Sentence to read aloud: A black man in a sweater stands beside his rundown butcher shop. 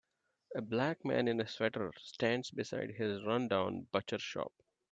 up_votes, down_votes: 2, 0